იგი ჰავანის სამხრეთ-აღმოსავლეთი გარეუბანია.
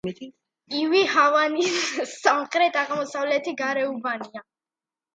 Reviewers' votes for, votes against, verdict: 2, 0, accepted